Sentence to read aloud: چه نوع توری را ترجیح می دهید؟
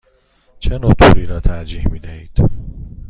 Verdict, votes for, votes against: accepted, 2, 0